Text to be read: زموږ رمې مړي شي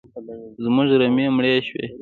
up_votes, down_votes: 2, 0